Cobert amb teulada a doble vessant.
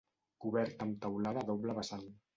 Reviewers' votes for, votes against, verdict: 2, 0, accepted